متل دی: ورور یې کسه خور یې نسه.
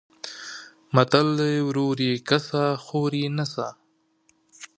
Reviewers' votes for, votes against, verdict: 2, 0, accepted